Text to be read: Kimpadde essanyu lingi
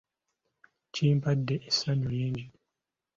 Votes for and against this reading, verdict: 2, 0, accepted